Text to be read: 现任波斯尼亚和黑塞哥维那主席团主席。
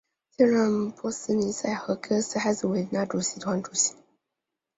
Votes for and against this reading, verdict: 2, 1, accepted